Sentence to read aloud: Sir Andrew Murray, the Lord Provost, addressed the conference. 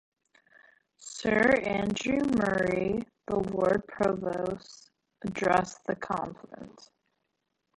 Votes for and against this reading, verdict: 0, 2, rejected